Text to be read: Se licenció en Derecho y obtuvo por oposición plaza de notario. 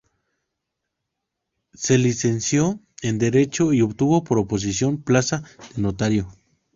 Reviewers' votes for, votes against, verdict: 2, 0, accepted